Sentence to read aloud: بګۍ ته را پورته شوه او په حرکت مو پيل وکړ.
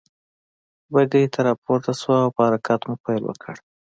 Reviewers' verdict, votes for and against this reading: accepted, 4, 2